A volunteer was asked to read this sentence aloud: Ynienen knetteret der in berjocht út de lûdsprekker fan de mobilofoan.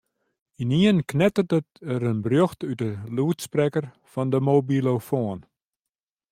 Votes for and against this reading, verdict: 0, 2, rejected